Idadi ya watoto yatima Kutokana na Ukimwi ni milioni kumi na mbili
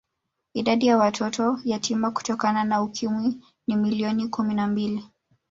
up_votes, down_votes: 1, 2